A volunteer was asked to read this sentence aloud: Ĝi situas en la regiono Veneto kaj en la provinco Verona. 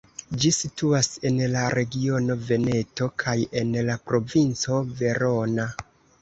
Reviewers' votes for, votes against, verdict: 2, 0, accepted